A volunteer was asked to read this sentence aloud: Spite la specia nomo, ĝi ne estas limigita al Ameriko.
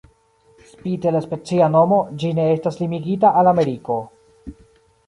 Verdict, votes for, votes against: rejected, 1, 2